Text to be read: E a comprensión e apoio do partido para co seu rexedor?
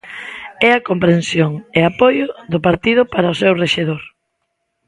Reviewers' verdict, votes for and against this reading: rejected, 0, 2